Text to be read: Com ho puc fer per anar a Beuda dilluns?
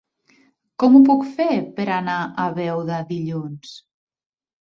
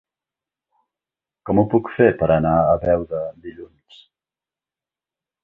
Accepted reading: second